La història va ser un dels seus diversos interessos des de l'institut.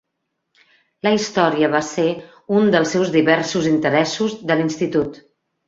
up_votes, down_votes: 1, 2